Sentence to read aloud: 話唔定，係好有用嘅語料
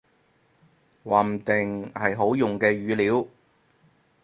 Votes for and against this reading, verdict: 0, 4, rejected